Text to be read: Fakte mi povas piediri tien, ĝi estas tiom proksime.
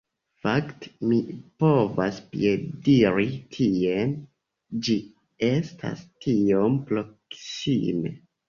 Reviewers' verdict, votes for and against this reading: rejected, 1, 2